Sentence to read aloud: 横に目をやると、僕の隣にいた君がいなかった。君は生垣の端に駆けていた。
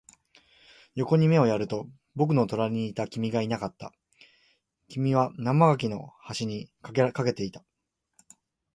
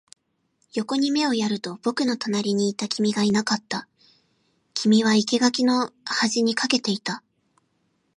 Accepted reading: second